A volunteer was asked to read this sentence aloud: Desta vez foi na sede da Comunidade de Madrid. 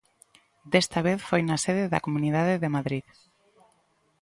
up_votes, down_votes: 2, 0